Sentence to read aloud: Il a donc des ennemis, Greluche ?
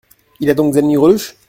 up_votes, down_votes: 0, 2